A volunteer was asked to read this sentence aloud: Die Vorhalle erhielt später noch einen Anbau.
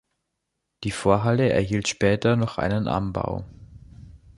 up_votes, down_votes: 2, 0